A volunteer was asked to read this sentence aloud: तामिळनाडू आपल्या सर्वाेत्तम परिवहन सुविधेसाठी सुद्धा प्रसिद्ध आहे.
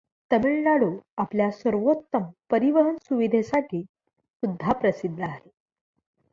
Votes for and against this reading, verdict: 2, 0, accepted